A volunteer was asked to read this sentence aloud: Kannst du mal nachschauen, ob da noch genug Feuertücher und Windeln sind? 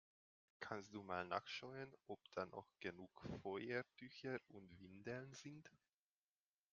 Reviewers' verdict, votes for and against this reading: accepted, 2, 0